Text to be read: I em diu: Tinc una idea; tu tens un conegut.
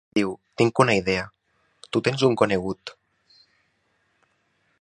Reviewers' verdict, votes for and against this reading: rejected, 0, 2